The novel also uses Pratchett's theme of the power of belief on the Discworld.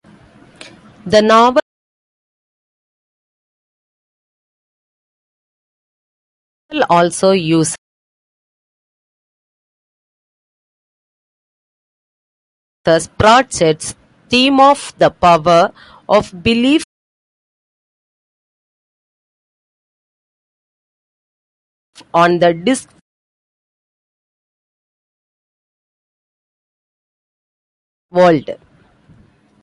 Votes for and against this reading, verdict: 1, 2, rejected